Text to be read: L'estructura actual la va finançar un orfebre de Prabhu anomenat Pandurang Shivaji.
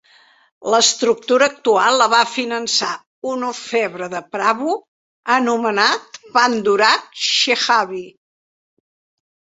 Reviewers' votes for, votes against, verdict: 0, 2, rejected